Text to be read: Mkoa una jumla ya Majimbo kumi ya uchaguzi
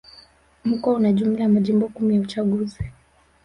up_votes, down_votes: 0, 2